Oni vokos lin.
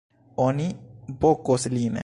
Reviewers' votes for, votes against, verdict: 0, 2, rejected